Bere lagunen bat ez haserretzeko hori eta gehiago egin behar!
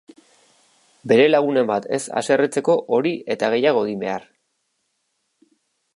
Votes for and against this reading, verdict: 3, 0, accepted